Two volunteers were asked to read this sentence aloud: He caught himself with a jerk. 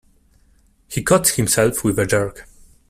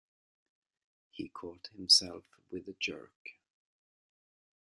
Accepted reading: first